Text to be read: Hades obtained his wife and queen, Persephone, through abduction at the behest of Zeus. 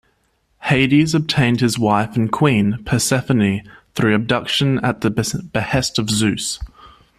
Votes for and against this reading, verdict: 1, 2, rejected